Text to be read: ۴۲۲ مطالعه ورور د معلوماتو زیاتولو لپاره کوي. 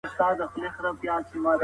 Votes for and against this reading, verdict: 0, 2, rejected